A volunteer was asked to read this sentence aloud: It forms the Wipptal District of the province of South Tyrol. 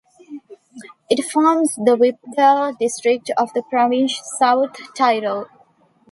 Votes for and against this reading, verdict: 1, 2, rejected